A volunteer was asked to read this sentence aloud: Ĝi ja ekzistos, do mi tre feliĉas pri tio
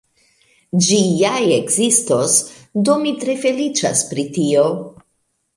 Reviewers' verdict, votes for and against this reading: rejected, 0, 2